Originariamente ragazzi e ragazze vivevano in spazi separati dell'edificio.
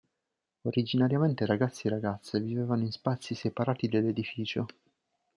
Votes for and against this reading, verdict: 2, 0, accepted